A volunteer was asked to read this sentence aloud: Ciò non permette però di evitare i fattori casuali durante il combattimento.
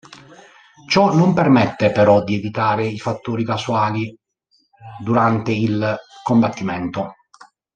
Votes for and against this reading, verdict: 2, 1, accepted